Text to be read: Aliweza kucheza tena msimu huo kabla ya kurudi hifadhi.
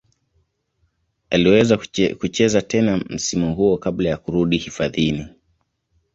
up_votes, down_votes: 0, 2